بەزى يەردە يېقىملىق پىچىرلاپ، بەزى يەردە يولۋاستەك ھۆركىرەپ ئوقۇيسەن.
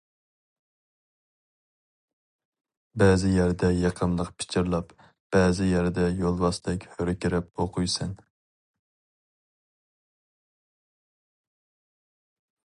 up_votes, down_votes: 4, 0